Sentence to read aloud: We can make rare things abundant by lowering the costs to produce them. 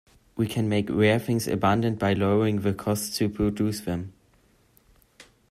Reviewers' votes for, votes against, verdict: 2, 0, accepted